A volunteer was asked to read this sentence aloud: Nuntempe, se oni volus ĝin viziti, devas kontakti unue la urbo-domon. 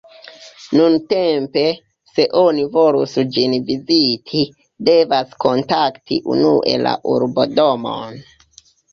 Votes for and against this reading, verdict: 2, 0, accepted